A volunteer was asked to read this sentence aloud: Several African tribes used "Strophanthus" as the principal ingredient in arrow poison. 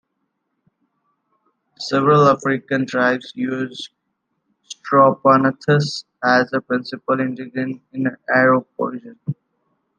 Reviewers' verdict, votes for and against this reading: rejected, 1, 2